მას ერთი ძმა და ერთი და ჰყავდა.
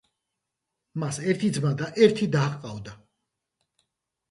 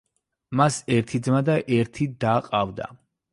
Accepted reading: first